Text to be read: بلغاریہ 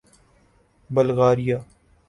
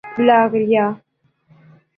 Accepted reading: first